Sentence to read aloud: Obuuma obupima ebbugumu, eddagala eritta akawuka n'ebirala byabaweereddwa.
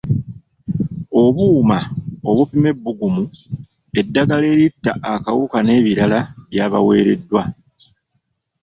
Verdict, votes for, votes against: rejected, 0, 2